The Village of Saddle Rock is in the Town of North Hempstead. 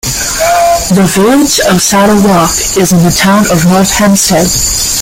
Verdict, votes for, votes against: accepted, 2, 1